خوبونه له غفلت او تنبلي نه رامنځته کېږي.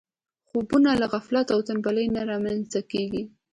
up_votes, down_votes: 2, 0